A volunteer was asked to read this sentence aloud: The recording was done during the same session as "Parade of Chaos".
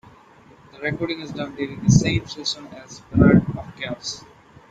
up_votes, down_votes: 1, 2